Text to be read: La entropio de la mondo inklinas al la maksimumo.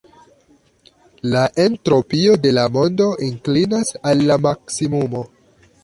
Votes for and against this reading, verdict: 1, 2, rejected